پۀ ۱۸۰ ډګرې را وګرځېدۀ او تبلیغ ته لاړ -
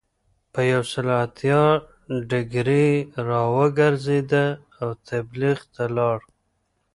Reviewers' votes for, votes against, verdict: 0, 2, rejected